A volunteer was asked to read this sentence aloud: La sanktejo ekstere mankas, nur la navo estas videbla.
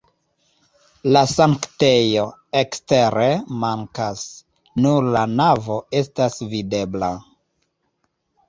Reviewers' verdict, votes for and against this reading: accepted, 2, 0